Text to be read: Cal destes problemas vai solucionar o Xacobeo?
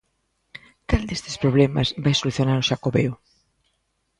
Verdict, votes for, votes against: rejected, 1, 2